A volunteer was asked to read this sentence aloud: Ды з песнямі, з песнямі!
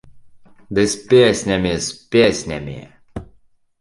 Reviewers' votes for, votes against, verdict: 2, 0, accepted